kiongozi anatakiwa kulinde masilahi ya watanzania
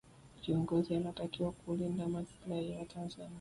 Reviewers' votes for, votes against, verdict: 2, 1, accepted